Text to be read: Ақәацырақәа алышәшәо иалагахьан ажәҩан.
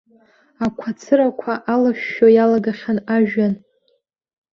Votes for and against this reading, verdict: 1, 2, rejected